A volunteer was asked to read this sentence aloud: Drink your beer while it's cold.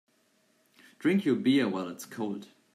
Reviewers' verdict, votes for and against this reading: accepted, 3, 0